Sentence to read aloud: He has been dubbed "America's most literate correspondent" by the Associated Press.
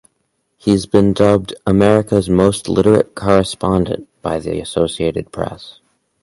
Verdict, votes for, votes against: accepted, 4, 0